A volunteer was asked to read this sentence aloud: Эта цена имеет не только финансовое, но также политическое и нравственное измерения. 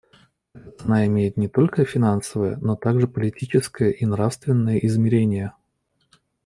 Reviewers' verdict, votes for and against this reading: rejected, 1, 2